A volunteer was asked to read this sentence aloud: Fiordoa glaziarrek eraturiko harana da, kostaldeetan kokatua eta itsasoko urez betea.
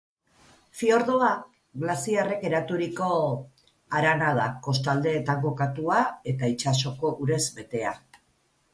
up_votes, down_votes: 2, 2